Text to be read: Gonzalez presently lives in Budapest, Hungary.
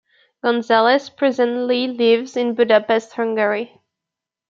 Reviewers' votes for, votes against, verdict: 2, 0, accepted